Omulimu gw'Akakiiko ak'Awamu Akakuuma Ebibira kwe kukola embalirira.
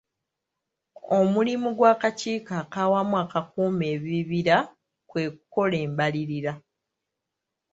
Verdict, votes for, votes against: accepted, 2, 0